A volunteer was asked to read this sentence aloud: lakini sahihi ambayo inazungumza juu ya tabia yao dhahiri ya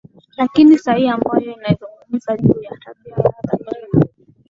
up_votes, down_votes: 1, 3